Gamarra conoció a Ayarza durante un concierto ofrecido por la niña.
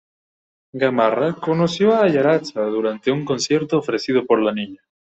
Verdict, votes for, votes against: rejected, 1, 2